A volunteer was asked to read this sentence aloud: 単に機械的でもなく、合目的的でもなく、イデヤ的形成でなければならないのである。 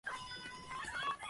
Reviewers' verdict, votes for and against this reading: rejected, 0, 2